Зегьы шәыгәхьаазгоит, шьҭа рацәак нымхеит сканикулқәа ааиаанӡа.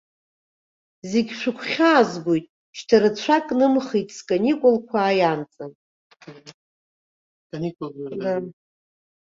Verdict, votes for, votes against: rejected, 1, 2